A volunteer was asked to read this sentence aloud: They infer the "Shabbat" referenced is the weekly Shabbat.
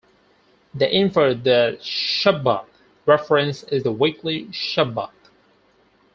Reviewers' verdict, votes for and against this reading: rejected, 0, 4